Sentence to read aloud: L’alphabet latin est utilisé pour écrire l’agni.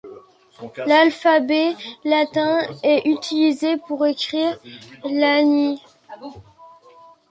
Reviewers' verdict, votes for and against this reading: rejected, 1, 2